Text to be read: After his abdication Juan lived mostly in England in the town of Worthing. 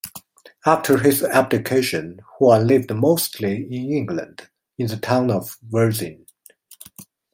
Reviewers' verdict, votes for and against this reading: rejected, 1, 2